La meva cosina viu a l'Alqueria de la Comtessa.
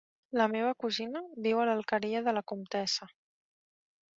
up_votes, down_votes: 3, 0